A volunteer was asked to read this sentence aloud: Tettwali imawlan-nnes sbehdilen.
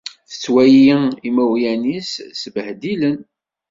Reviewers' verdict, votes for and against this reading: rejected, 1, 2